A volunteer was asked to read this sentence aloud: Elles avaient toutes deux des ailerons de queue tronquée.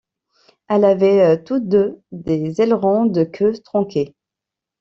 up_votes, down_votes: 1, 2